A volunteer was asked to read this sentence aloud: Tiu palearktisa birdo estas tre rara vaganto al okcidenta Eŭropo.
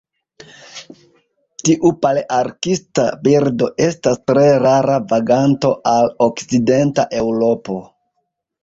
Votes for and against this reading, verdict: 1, 2, rejected